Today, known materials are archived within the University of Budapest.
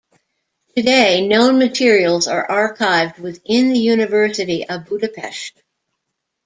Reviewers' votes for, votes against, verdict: 2, 0, accepted